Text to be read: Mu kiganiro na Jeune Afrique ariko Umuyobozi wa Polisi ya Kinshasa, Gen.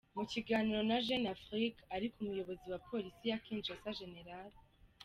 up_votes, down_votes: 2, 0